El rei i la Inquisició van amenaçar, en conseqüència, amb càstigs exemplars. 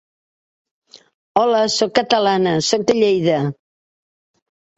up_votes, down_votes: 0, 2